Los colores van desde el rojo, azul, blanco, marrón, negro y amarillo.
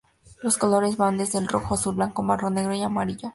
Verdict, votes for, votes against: rejected, 0, 2